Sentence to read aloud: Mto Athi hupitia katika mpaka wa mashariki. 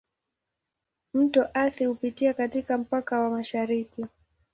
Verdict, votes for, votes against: accepted, 2, 0